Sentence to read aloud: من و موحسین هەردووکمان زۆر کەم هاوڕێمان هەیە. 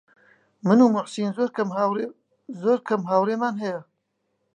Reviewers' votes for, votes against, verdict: 0, 2, rejected